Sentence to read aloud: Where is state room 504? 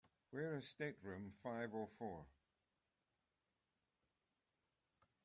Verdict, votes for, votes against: rejected, 0, 2